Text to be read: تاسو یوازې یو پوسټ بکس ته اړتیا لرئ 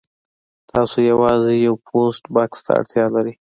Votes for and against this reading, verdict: 2, 1, accepted